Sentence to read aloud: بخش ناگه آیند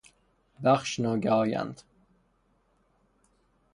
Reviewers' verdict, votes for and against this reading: rejected, 0, 3